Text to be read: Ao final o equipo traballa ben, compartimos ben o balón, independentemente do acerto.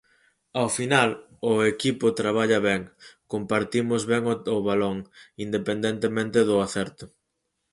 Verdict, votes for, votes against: rejected, 0, 4